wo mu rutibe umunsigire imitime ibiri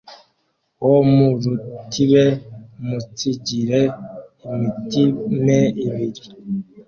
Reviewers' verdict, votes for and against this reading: accepted, 2, 1